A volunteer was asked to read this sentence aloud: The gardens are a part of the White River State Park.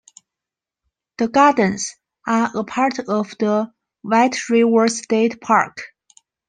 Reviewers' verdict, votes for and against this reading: rejected, 0, 2